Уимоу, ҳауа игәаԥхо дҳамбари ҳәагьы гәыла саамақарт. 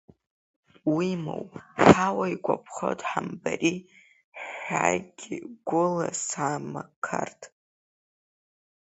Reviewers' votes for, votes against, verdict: 1, 3, rejected